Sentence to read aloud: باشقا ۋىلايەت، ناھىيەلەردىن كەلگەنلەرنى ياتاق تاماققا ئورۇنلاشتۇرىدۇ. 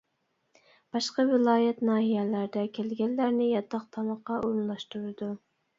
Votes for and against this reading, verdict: 0, 2, rejected